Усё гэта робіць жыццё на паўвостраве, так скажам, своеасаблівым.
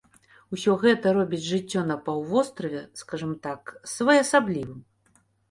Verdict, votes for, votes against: rejected, 0, 2